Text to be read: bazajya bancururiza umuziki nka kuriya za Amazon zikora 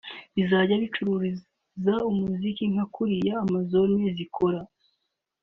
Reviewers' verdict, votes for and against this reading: rejected, 1, 2